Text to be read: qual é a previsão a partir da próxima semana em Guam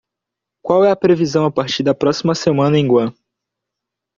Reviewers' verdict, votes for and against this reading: accepted, 2, 0